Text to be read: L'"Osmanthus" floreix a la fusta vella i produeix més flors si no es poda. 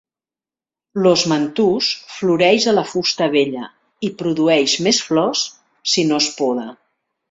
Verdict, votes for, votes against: rejected, 1, 2